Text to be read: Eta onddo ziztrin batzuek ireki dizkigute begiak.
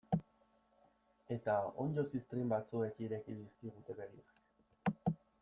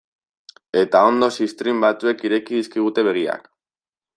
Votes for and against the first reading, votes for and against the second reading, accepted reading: 1, 2, 2, 1, second